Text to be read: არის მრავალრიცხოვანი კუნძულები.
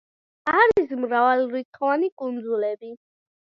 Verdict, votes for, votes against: rejected, 0, 2